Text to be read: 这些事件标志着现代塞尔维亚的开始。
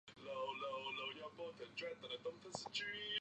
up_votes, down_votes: 1, 3